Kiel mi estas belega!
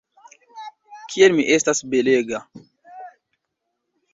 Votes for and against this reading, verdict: 1, 2, rejected